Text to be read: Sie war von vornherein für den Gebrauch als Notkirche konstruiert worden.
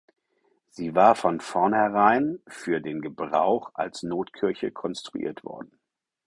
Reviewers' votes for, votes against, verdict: 4, 0, accepted